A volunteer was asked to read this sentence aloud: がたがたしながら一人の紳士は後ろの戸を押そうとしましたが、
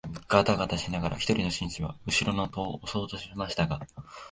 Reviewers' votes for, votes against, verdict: 2, 0, accepted